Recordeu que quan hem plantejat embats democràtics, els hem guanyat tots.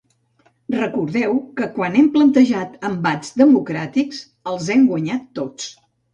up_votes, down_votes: 2, 0